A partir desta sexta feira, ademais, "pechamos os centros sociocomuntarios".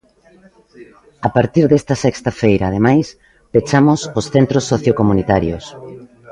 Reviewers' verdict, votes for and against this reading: accepted, 2, 0